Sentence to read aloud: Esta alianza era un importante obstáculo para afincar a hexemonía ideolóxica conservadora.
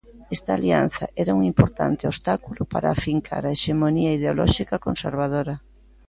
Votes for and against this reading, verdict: 2, 0, accepted